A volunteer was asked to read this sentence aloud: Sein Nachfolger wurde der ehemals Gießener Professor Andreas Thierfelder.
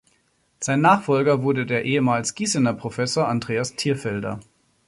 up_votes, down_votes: 2, 0